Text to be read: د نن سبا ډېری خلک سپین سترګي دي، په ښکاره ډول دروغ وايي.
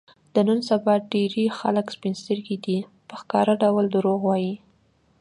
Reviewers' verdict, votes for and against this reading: accepted, 2, 0